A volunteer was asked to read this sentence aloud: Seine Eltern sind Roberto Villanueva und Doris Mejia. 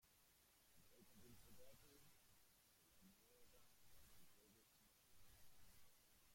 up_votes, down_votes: 0, 2